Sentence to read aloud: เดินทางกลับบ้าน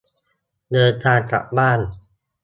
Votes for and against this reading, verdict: 2, 0, accepted